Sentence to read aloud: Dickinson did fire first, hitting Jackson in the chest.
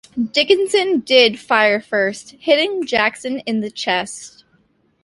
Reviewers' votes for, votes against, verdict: 2, 0, accepted